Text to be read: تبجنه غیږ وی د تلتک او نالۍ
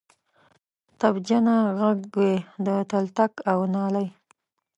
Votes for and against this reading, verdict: 1, 2, rejected